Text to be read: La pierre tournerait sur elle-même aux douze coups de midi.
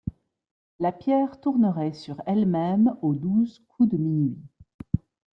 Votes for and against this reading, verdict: 0, 2, rejected